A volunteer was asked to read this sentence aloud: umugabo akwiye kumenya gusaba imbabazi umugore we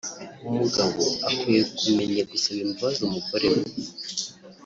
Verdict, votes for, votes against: rejected, 0, 2